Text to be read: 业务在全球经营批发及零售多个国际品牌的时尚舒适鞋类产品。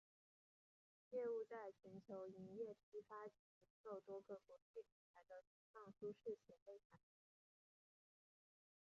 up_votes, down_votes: 0, 2